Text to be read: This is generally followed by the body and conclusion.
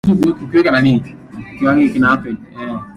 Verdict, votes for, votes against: rejected, 0, 2